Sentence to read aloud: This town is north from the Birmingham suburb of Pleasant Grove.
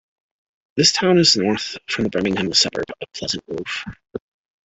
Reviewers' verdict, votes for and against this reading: rejected, 0, 2